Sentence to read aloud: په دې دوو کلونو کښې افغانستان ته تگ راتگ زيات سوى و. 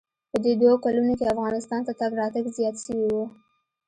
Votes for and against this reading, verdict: 2, 0, accepted